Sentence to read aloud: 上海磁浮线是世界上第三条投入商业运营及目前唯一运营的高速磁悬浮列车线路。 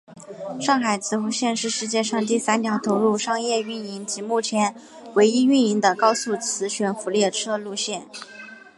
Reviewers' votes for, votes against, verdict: 6, 1, accepted